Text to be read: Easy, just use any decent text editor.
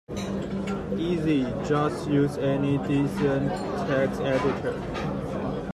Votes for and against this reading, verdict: 0, 2, rejected